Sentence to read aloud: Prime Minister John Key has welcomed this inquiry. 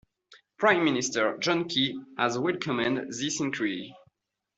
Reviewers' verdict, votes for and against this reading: rejected, 0, 2